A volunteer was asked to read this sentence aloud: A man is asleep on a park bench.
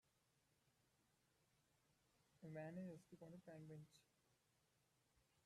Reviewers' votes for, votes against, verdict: 0, 2, rejected